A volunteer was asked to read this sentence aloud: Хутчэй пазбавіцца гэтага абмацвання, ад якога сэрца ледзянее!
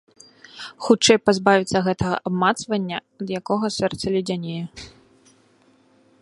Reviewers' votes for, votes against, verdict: 3, 0, accepted